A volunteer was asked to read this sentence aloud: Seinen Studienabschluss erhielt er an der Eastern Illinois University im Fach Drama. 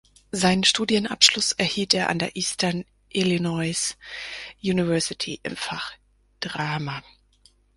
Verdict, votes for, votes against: rejected, 2, 4